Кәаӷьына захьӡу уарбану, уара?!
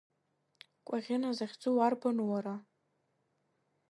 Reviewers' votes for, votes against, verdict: 2, 0, accepted